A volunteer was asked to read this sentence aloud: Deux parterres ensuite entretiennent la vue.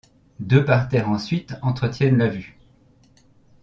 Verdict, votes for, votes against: accepted, 2, 0